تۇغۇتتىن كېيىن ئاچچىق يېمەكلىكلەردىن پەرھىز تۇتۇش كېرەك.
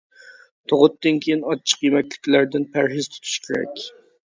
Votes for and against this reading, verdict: 2, 0, accepted